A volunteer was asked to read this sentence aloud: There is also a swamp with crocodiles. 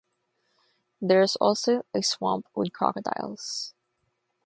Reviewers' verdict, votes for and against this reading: accepted, 3, 0